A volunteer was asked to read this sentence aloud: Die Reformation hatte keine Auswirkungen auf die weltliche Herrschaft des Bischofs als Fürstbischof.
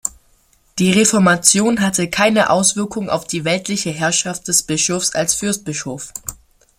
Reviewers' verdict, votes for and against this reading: accepted, 2, 0